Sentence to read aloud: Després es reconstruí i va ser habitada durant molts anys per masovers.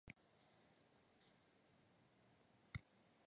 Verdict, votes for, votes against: rejected, 0, 2